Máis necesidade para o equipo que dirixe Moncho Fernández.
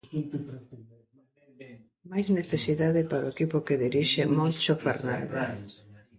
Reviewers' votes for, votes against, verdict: 0, 2, rejected